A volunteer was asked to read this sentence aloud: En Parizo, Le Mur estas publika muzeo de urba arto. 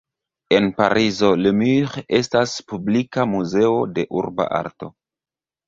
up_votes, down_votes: 1, 2